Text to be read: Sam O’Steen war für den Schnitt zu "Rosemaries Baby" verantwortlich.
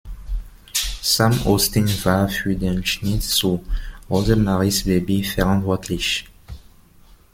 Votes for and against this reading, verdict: 2, 0, accepted